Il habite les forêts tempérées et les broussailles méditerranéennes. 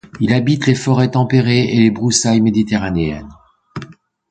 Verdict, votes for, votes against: accepted, 2, 0